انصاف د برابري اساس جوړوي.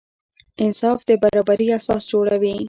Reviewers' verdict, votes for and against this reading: accepted, 2, 0